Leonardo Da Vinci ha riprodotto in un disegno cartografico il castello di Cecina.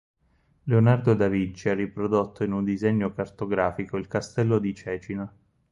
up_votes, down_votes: 2, 4